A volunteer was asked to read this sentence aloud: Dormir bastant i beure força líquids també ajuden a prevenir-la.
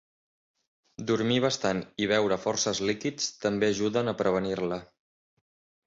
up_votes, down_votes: 0, 2